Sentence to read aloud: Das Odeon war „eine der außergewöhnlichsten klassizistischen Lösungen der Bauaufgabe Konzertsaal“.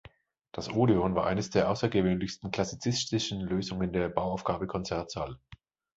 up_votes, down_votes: 1, 2